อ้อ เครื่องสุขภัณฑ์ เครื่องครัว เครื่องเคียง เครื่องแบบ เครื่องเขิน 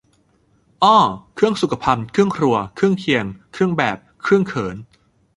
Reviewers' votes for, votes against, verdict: 2, 0, accepted